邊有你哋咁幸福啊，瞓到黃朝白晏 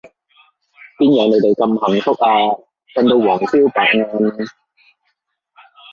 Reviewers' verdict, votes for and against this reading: rejected, 1, 2